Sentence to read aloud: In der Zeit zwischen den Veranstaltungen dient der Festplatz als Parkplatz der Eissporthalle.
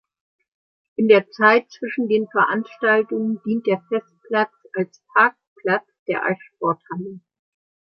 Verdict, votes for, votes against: accepted, 3, 1